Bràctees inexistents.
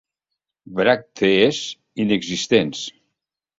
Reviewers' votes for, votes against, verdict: 2, 0, accepted